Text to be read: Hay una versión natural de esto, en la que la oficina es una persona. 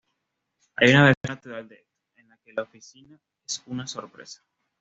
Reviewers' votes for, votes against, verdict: 1, 2, rejected